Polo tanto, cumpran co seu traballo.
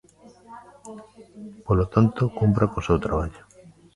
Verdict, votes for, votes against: rejected, 1, 2